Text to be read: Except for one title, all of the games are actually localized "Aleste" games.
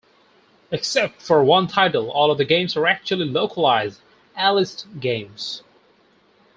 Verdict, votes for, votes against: accepted, 2, 0